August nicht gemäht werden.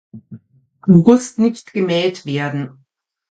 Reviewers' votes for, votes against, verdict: 1, 2, rejected